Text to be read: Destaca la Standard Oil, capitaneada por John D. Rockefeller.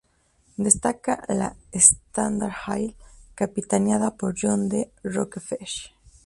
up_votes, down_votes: 0, 2